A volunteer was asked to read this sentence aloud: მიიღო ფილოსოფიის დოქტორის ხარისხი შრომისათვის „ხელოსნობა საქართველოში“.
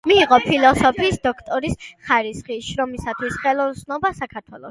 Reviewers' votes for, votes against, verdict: 0, 2, rejected